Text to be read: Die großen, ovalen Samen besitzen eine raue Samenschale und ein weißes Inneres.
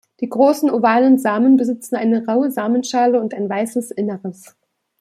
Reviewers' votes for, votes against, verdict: 2, 0, accepted